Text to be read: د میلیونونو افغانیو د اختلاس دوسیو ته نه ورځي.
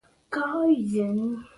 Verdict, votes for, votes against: rejected, 1, 2